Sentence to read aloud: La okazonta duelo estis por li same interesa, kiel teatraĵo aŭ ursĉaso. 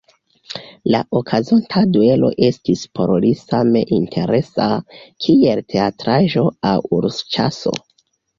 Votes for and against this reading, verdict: 3, 0, accepted